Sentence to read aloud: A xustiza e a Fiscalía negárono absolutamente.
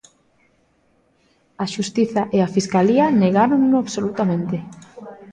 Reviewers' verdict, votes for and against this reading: rejected, 0, 2